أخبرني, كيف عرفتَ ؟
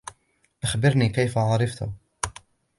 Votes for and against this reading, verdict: 2, 0, accepted